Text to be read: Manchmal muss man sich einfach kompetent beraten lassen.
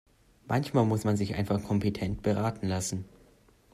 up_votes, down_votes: 2, 0